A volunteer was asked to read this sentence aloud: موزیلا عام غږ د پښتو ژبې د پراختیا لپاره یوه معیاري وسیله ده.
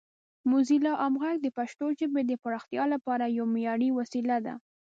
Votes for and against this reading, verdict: 2, 0, accepted